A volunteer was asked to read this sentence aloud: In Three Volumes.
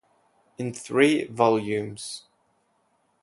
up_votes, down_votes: 4, 2